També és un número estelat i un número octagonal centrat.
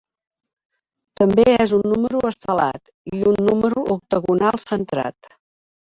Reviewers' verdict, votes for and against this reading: accepted, 2, 1